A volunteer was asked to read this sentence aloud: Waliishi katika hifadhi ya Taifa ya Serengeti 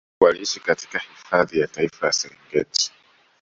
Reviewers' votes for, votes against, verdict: 2, 0, accepted